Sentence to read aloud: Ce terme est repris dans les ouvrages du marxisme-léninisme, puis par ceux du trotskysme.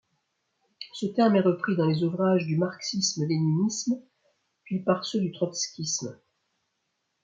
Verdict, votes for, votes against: accepted, 2, 0